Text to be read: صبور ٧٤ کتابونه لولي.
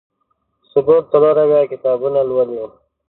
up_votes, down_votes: 0, 2